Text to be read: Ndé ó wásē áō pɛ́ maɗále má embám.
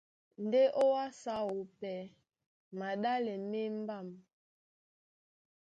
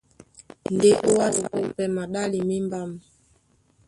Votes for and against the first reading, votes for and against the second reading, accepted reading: 2, 1, 1, 2, first